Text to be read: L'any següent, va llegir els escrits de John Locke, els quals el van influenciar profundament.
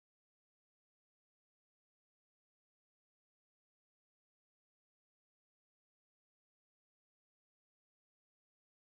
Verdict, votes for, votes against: rejected, 0, 2